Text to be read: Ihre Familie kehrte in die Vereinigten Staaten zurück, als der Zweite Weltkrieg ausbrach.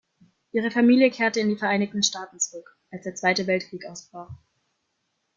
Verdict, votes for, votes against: accepted, 2, 1